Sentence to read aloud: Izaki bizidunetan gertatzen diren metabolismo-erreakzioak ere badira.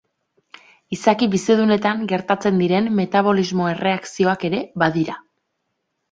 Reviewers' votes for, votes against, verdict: 2, 0, accepted